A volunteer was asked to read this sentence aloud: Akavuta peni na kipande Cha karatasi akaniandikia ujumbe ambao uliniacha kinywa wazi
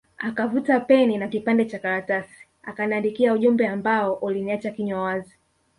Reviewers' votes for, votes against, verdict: 0, 2, rejected